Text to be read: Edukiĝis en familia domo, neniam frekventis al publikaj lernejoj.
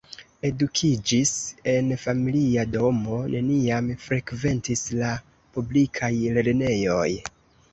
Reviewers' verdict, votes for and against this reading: rejected, 1, 2